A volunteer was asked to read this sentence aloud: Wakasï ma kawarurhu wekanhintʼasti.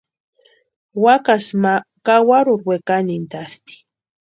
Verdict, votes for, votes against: accepted, 2, 0